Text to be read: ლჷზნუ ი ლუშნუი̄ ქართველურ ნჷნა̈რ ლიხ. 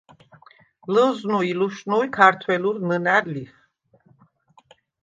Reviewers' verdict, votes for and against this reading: accepted, 2, 0